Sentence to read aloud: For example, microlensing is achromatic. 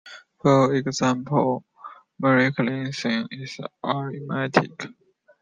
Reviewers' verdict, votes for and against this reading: accepted, 2, 1